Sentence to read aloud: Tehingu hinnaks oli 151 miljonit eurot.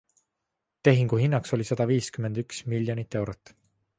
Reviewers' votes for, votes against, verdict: 0, 2, rejected